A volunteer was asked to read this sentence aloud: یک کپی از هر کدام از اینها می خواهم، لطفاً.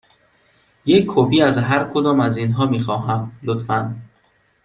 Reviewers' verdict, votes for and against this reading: accepted, 2, 0